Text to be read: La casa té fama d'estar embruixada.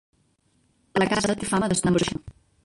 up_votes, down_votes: 0, 2